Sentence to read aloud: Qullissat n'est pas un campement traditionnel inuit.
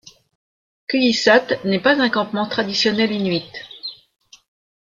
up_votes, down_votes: 2, 0